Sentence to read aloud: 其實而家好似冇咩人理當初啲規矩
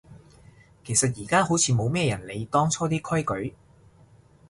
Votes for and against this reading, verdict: 2, 0, accepted